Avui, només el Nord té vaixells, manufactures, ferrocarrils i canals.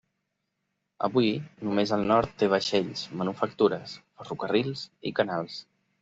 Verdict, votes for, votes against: accepted, 3, 0